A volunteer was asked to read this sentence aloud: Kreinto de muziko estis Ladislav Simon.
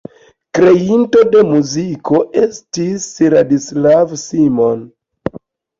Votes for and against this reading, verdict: 2, 0, accepted